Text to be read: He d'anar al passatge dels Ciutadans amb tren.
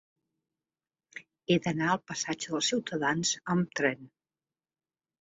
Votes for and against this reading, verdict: 4, 0, accepted